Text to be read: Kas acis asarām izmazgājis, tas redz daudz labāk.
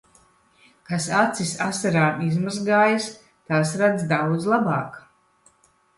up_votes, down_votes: 1, 2